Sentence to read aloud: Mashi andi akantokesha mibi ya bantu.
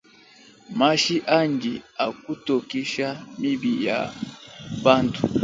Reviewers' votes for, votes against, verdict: 1, 2, rejected